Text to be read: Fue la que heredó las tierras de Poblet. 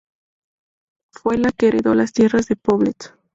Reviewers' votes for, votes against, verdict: 0, 2, rejected